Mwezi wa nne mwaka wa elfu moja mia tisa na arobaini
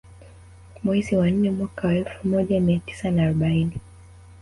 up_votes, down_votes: 1, 2